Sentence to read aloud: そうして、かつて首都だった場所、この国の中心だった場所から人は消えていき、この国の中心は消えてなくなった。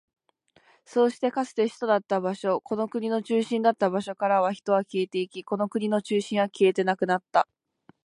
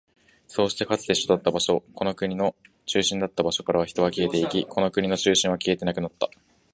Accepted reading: first